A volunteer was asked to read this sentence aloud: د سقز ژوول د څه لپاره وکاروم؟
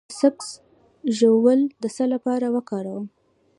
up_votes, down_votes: 1, 2